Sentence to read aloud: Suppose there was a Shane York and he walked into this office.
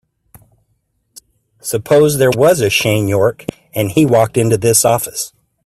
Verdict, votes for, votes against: accepted, 2, 0